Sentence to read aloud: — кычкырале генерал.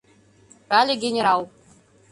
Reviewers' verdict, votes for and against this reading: rejected, 0, 2